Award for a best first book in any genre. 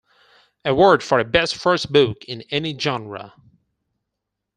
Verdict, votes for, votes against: accepted, 4, 0